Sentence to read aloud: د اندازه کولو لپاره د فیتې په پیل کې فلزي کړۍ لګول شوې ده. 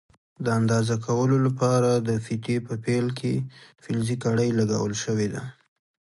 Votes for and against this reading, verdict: 2, 0, accepted